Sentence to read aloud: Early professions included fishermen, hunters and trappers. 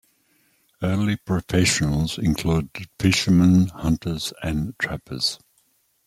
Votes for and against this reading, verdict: 2, 0, accepted